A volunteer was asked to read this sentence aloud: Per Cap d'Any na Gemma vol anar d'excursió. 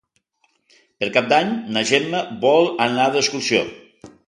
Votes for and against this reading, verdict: 2, 0, accepted